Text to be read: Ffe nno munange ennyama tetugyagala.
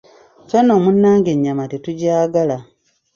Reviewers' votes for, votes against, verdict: 2, 1, accepted